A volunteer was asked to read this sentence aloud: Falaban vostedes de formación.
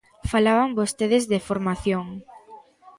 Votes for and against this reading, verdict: 2, 0, accepted